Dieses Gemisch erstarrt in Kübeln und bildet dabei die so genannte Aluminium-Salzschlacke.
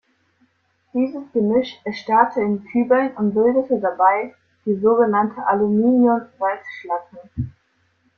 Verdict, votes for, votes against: rejected, 1, 2